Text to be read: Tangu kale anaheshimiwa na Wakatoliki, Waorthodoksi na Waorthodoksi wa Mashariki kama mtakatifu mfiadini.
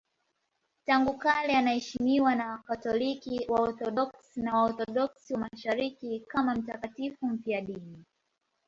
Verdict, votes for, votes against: accepted, 2, 0